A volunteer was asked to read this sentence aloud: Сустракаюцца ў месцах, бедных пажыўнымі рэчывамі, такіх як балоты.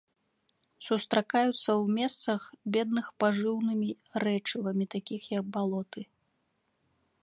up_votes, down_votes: 0, 2